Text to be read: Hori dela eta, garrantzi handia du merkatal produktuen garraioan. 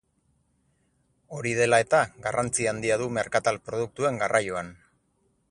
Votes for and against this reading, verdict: 2, 0, accepted